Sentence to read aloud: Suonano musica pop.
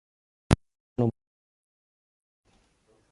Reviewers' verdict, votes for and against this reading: rejected, 0, 2